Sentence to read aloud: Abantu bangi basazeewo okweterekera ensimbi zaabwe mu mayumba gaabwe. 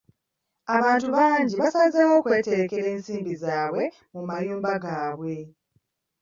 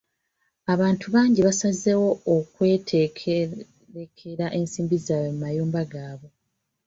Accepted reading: first